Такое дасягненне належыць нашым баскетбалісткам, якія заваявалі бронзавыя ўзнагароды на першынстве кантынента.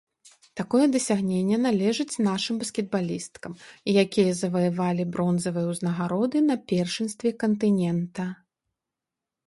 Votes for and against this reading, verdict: 2, 0, accepted